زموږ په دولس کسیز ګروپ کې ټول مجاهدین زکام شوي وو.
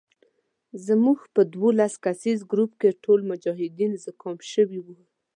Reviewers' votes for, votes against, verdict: 2, 0, accepted